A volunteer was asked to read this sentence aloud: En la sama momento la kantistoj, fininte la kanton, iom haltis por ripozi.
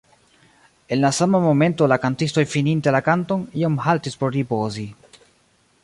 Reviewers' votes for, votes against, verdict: 0, 2, rejected